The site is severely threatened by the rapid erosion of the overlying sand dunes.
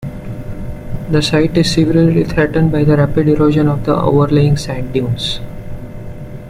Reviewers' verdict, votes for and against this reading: accepted, 2, 0